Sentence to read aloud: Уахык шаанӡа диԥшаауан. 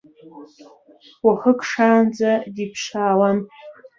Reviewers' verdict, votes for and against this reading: rejected, 0, 2